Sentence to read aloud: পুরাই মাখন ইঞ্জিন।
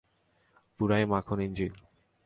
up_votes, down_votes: 2, 0